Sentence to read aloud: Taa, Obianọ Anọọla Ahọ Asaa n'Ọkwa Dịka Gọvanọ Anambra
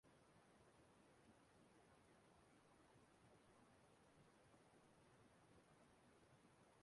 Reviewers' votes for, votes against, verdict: 0, 2, rejected